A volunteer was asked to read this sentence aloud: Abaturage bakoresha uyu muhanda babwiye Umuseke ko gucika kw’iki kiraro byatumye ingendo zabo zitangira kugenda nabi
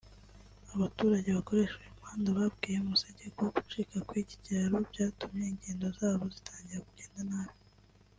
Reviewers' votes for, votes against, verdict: 0, 2, rejected